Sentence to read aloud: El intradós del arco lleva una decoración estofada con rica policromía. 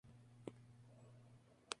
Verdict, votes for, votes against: rejected, 0, 2